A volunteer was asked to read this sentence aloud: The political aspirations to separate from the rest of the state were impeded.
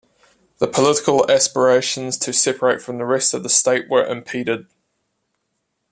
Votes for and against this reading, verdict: 2, 0, accepted